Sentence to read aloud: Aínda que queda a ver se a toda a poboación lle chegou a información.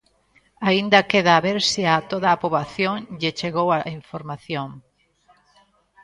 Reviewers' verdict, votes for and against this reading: rejected, 0, 2